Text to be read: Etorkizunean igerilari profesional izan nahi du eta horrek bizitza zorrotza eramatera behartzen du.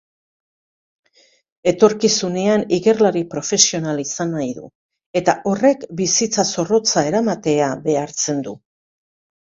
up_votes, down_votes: 1, 2